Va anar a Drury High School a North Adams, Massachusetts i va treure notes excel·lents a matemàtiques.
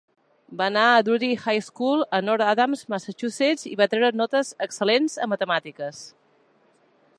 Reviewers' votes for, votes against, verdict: 3, 0, accepted